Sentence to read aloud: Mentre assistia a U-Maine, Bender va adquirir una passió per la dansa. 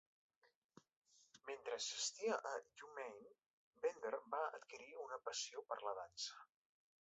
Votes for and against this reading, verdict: 2, 0, accepted